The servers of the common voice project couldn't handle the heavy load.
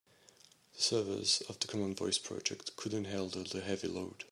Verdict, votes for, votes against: rejected, 1, 2